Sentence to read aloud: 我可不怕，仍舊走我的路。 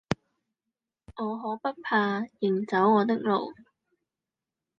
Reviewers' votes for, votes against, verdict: 0, 2, rejected